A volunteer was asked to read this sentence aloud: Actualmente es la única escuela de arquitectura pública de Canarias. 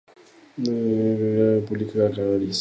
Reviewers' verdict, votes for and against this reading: rejected, 0, 2